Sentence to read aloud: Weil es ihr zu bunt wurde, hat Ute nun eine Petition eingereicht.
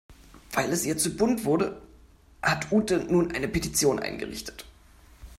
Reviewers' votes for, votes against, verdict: 0, 3, rejected